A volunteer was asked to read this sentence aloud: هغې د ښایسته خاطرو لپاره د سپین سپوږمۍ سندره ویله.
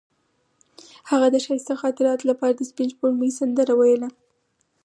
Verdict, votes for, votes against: rejected, 2, 4